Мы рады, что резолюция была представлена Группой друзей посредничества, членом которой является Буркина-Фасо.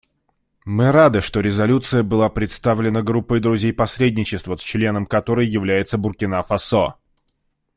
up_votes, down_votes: 2, 0